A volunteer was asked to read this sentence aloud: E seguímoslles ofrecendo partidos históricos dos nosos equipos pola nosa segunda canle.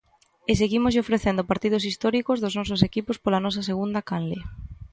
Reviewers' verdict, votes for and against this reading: rejected, 0, 3